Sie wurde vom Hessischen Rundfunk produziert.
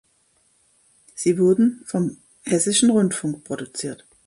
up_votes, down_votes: 0, 2